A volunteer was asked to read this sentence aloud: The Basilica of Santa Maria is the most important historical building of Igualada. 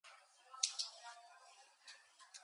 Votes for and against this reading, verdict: 0, 2, rejected